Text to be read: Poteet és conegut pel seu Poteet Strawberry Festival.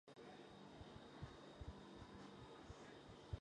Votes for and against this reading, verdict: 0, 2, rejected